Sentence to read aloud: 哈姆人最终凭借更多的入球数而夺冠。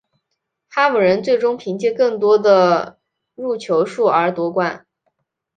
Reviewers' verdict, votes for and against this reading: accepted, 2, 0